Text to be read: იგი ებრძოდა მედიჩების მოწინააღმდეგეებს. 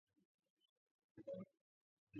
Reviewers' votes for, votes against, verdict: 0, 2, rejected